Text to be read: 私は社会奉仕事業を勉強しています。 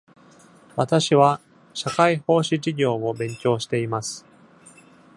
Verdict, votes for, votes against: rejected, 1, 2